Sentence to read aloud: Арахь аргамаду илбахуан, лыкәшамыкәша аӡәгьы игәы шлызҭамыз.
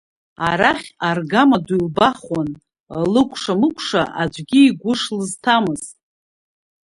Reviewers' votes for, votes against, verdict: 0, 2, rejected